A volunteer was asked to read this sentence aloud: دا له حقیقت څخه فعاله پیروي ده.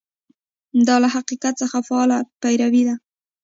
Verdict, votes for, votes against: accepted, 2, 1